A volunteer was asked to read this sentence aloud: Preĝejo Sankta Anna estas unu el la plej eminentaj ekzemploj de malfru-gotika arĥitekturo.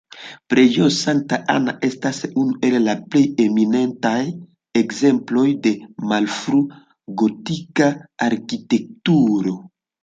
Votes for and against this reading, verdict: 0, 2, rejected